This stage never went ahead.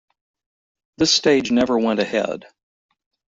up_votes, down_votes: 1, 2